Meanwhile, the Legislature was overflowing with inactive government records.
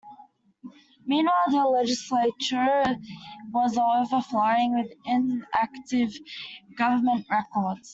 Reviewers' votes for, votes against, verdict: 0, 2, rejected